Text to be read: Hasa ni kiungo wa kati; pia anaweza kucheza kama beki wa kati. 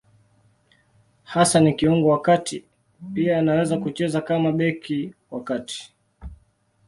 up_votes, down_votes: 2, 0